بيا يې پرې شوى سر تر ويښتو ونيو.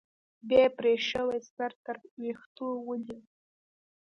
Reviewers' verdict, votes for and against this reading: accepted, 2, 0